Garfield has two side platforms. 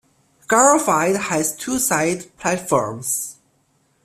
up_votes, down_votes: 2, 1